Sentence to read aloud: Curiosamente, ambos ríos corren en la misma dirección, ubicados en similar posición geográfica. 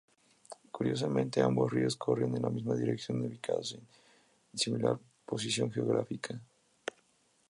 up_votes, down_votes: 2, 0